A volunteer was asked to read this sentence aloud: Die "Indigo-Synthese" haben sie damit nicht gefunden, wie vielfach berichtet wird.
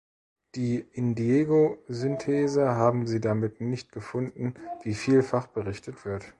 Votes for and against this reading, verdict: 1, 2, rejected